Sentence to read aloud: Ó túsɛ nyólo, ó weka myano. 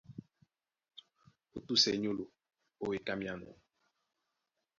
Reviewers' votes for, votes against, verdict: 1, 2, rejected